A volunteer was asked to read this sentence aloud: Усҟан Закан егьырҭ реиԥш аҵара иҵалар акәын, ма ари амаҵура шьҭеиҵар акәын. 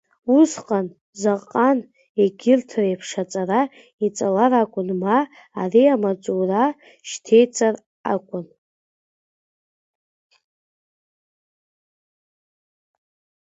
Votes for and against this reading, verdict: 0, 2, rejected